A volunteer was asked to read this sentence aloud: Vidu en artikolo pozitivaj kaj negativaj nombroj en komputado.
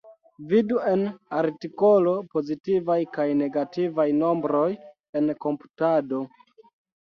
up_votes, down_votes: 1, 2